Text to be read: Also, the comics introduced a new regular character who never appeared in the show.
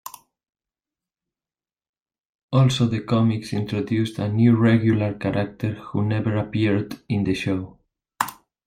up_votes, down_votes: 1, 2